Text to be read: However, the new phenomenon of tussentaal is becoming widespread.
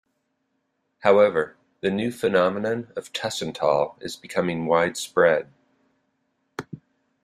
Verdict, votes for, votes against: accepted, 2, 0